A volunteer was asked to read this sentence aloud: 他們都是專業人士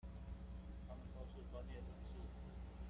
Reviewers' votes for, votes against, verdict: 0, 2, rejected